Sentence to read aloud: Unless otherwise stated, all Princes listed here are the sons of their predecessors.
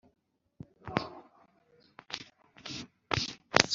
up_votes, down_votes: 0, 2